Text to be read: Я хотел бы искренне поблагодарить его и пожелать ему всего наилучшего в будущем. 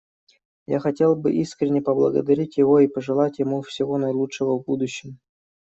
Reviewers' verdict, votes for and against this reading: accepted, 2, 0